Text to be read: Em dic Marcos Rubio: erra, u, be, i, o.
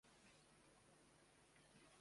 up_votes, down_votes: 0, 2